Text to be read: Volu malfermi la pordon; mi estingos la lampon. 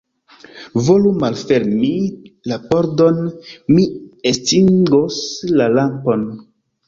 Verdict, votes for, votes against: accepted, 3, 1